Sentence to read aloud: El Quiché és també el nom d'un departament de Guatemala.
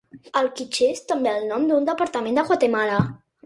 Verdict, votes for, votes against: accepted, 2, 0